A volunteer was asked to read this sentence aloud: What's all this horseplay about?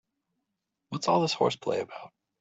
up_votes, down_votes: 3, 0